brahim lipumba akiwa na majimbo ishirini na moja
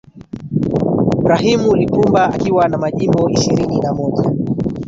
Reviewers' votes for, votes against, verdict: 1, 2, rejected